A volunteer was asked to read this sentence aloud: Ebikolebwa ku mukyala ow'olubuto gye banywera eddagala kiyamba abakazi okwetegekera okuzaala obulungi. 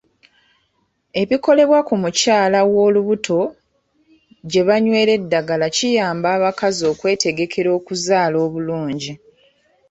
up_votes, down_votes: 2, 0